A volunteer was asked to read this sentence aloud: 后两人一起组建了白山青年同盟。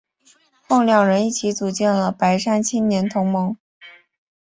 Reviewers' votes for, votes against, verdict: 3, 0, accepted